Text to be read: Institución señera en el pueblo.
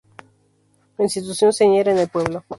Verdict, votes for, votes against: rejected, 0, 2